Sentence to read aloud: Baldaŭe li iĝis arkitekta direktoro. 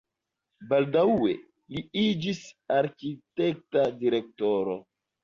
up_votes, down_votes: 2, 0